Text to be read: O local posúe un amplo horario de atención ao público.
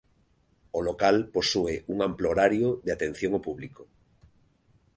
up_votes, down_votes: 2, 0